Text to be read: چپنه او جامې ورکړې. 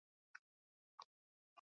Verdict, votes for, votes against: rejected, 1, 2